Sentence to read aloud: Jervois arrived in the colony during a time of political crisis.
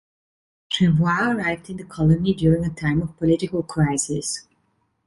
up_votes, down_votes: 2, 1